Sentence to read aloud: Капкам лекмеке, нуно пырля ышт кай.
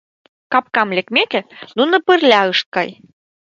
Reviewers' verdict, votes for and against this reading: rejected, 0, 2